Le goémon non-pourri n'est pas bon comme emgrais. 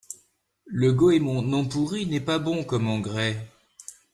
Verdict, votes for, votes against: accepted, 2, 0